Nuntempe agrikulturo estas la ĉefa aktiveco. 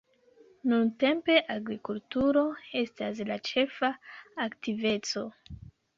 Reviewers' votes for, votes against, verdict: 2, 0, accepted